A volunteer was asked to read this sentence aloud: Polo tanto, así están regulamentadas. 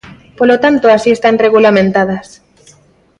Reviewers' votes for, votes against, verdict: 2, 0, accepted